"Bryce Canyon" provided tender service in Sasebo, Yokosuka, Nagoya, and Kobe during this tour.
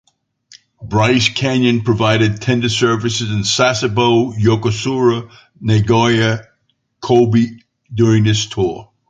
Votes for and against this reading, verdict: 0, 2, rejected